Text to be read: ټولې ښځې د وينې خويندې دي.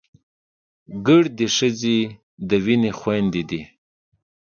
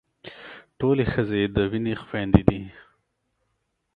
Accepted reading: second